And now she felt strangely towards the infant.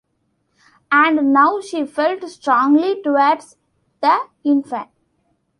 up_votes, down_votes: 0, 2